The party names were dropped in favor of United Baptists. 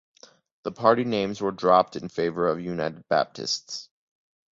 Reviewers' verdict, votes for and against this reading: accepted, 2, 1